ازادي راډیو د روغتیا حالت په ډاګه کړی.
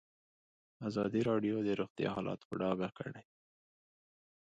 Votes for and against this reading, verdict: 2, 0, accepted